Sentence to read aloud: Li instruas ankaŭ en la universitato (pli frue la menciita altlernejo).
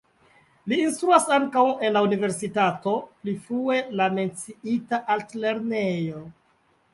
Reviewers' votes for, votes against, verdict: 2, 1, accepted